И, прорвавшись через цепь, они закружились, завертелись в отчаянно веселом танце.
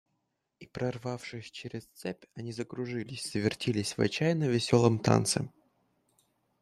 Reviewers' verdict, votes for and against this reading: accepted, 2, 0